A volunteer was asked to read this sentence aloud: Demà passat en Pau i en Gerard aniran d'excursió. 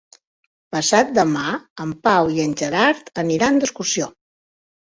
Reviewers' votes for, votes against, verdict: 0, 2, rejected